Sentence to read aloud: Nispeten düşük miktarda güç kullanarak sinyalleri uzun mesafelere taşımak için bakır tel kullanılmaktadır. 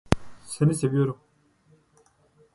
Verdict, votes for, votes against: rejected, 0, 2